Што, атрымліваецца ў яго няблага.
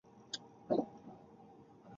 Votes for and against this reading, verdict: 0, 2, rejected